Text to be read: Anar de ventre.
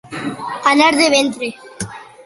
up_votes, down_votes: 2, 1